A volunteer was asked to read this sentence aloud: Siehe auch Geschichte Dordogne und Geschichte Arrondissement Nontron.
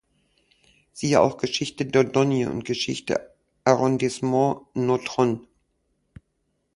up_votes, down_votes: 2, 0